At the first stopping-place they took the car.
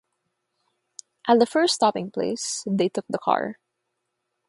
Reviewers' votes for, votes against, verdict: 6, 0, accepted